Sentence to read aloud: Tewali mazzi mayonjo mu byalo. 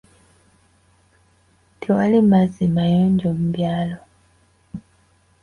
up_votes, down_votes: 2, 0